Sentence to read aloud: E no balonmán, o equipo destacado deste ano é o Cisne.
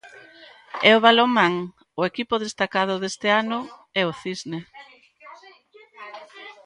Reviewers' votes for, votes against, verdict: 0, 2, rejected